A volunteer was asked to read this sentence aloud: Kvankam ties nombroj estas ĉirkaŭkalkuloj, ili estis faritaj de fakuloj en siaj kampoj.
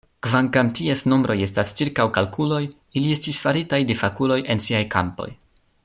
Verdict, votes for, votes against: accepted, 2, 0